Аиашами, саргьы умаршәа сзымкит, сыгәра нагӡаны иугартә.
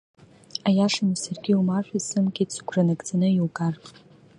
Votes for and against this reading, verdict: 0, 2, rejected